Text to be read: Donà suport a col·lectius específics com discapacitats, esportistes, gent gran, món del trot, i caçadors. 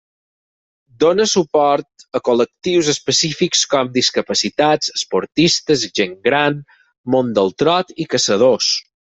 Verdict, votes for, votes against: accepted, 6, 0